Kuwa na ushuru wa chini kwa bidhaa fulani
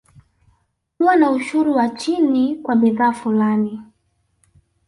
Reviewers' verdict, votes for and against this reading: rejected, 0, 2